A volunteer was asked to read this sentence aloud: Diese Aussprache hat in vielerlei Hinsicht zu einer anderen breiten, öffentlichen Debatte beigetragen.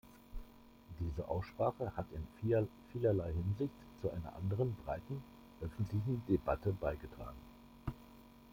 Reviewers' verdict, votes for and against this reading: rejected, 1, 2